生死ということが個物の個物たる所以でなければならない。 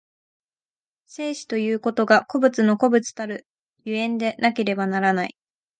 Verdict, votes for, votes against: accepted, 2, 0